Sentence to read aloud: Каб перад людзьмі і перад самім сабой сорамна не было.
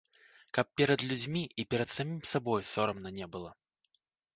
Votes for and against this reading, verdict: 1, 2, rejected